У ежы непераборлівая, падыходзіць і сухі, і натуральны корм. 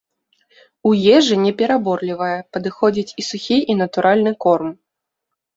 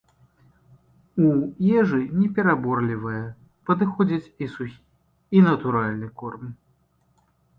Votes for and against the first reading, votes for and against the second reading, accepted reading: 2, 0, 0, 2, first